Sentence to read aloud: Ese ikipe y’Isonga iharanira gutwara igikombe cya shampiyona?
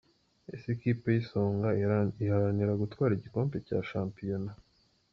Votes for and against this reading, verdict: 0, 2, rejected